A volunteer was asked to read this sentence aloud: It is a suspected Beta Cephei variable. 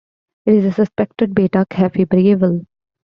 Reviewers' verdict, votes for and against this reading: rejected, 0, 2